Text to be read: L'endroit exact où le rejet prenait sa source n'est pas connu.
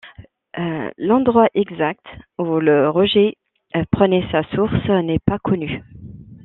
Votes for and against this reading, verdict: 2, 3, rejected